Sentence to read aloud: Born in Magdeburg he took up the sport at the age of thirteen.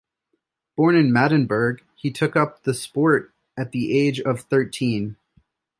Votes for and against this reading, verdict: 1, 2, rejected